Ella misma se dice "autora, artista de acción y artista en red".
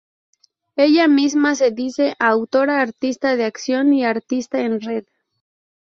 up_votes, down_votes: 2, 0